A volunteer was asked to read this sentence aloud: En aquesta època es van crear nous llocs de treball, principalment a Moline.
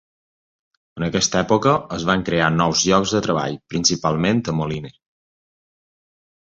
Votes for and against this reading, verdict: 2, 0, accepted